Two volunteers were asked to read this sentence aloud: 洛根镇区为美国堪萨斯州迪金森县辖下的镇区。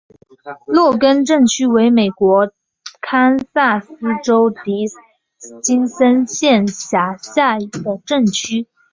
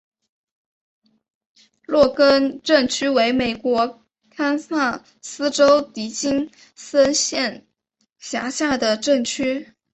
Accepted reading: first